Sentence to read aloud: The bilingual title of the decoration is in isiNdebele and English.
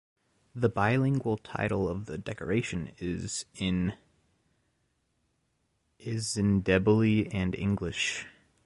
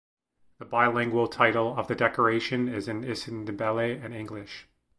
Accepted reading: second